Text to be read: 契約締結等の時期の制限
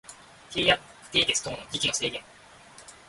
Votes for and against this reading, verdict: 1, 2, rejected